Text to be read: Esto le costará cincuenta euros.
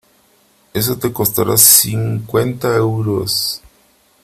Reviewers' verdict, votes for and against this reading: rejected, 1, 3